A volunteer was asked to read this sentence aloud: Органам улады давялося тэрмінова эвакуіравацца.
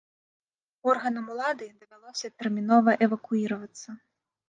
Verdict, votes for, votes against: rejected, 1, 2